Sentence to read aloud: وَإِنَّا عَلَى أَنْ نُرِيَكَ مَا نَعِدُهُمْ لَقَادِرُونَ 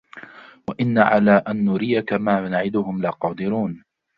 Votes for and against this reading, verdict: 2, 1, accepted